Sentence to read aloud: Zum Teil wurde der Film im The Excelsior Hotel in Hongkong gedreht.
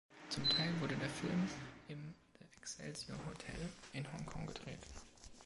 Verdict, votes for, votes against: accepted, 2, 0